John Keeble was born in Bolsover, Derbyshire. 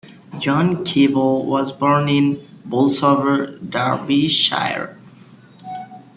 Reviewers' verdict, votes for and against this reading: accepted, 2, 0